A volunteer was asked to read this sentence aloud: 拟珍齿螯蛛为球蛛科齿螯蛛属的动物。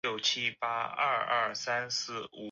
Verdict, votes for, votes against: rejected, 1, 4